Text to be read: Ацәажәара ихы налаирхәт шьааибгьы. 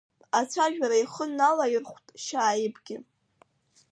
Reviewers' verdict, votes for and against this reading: accepted, 2, 1